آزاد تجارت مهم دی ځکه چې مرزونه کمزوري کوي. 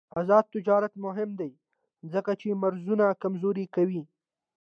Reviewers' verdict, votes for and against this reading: accepted, 2, 0